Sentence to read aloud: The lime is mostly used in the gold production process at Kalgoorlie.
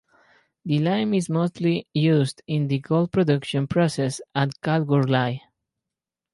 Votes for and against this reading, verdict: 2, 0, accepted